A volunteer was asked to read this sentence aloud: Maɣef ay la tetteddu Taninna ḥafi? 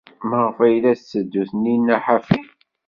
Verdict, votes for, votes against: accepted, 2, 0